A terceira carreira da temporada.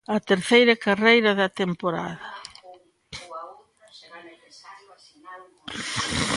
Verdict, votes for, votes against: rejected, 0, 2